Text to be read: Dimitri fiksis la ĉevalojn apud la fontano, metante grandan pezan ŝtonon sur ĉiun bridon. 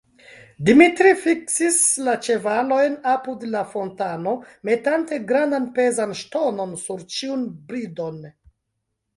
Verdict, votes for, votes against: accepted, 2, 0